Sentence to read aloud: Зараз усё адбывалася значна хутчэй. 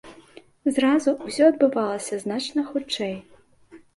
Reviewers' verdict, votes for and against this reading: rejected, 0, 2